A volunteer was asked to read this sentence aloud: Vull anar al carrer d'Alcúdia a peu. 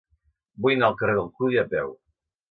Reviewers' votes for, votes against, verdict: 0, 2, rejected